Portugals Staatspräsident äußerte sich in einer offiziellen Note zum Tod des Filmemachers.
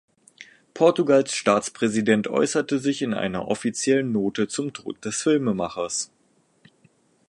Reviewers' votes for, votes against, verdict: 2, 0, accepted